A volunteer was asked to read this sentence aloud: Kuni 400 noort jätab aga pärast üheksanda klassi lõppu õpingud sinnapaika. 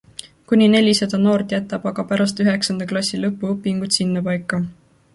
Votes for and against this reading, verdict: 0, 2, rejected